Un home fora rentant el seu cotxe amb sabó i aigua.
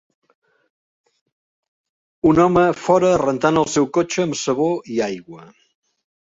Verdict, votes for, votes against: accepted, 3, 0